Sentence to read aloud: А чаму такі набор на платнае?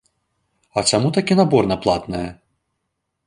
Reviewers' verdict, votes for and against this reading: accepted, 2, 0